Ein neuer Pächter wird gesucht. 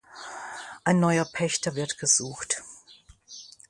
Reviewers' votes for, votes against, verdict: 2, 0, accepted